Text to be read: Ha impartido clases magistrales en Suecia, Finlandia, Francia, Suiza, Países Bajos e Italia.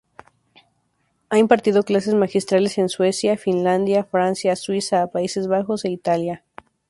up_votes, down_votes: 2, 2